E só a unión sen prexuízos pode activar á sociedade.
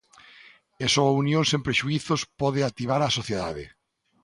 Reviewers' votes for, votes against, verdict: 2, 0, accepted